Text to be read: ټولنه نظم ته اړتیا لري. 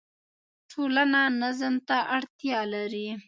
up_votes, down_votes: 1, 2